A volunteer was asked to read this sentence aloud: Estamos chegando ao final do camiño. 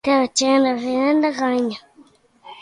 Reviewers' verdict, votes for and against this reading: rejected, 1, 2